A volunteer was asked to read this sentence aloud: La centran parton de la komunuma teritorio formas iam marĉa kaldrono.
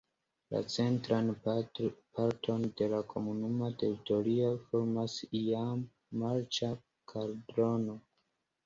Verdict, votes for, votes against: accepted, 2, 0